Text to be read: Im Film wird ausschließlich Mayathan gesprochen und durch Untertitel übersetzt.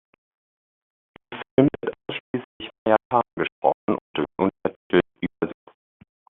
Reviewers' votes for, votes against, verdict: 0, 2, rejected